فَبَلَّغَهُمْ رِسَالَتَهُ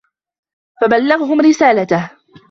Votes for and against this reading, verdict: 1, 2, rejected